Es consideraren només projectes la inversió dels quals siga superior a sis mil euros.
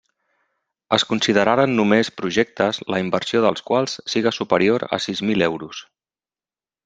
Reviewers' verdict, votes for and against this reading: accepted, 3, 0